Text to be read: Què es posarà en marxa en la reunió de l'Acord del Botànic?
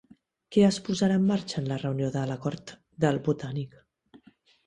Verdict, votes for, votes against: accepted, 2, 0